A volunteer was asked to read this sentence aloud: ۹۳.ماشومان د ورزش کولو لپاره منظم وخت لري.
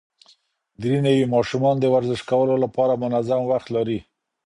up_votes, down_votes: 0, 2